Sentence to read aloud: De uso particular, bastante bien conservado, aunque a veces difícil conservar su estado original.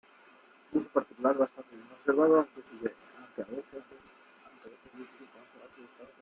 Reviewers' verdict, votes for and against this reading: rejected, 0, 3